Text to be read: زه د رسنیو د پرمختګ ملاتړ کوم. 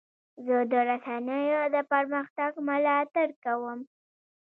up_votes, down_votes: 0, 2